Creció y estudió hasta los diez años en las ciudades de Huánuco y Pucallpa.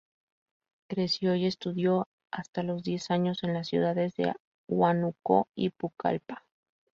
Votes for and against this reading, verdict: 2, 0, accepted